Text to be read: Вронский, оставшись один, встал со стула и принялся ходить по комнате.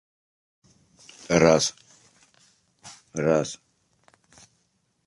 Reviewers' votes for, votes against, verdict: 0, 2, rejected